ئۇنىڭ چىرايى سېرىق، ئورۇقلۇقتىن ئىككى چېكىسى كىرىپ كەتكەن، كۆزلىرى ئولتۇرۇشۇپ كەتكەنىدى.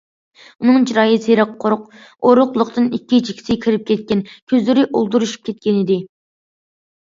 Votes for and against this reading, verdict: 2, 0, accepted